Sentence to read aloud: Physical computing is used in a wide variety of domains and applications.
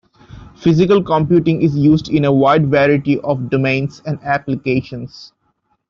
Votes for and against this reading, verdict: 0, 2, rejected